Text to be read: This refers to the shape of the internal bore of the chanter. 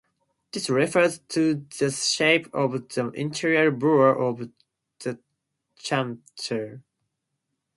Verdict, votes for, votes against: accepted, 4, 0